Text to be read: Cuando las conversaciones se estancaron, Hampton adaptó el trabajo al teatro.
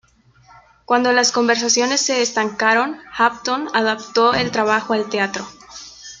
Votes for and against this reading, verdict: 2, 0, accepted